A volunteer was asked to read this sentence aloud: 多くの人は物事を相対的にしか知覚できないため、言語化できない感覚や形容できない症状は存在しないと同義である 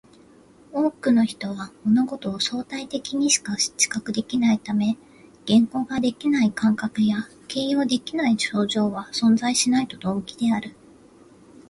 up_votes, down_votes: 2, 1